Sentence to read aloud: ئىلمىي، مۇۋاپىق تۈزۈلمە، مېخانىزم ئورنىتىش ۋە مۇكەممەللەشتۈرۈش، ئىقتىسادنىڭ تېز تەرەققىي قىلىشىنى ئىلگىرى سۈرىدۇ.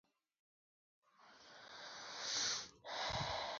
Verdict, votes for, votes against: rejected, 0, 2